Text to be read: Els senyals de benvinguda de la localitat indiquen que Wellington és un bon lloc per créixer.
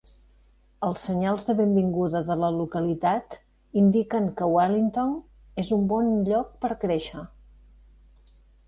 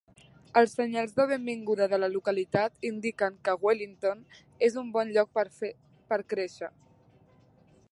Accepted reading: first